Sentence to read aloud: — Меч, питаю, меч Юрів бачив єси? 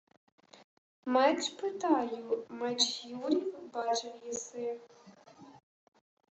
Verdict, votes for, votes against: rejected, 0, 2